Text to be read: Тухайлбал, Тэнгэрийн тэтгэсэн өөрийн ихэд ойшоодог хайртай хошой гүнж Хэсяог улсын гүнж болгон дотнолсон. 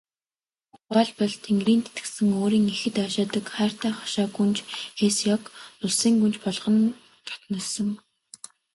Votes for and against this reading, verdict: 2, 0, accepted